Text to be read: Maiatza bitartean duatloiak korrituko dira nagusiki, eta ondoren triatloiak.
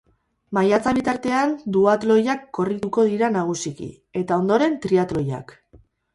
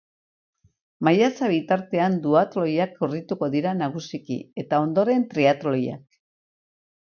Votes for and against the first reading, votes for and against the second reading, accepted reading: 2, 4, 4, 0, second